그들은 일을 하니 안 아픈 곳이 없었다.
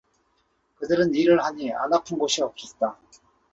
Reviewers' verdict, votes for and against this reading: accepted, 2, 0